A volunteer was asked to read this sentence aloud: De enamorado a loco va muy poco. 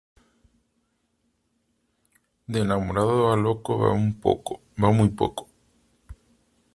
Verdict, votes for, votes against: rejected, 0, 2